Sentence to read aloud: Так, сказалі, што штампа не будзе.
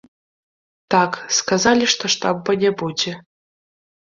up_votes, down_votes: 1, 2